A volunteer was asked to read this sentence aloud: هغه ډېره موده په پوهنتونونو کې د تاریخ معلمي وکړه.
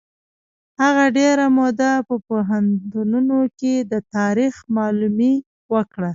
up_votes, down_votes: 1, 2